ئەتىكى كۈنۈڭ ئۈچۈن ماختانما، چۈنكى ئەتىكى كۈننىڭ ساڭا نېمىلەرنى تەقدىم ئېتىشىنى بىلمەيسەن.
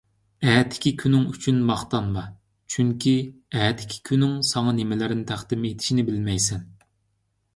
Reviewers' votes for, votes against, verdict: 2, 1, accepted